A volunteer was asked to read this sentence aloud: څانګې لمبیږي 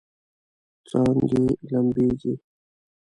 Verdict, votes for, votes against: rejected, 0, 2